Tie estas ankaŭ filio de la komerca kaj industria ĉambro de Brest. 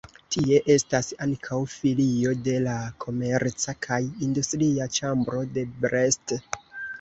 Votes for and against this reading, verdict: 1, 2, rejected